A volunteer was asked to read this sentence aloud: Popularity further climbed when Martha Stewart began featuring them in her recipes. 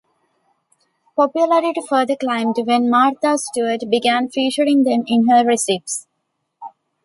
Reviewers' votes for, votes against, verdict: 0, 2, rejected